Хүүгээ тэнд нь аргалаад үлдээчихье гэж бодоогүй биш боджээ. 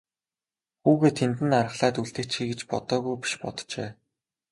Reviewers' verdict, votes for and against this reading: accepted, 2, 0